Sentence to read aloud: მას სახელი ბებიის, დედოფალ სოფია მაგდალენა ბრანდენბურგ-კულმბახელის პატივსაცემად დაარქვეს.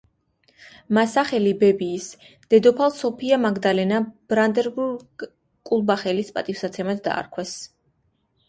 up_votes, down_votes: 2, 1